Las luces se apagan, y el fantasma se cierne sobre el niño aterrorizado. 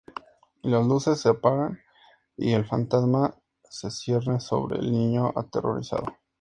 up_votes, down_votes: 2, 0